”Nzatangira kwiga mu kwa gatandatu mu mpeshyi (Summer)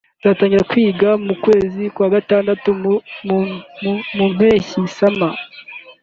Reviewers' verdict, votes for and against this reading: rejected, 0, 2